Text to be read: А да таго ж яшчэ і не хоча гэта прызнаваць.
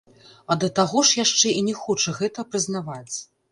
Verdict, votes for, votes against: rejected, 1, 2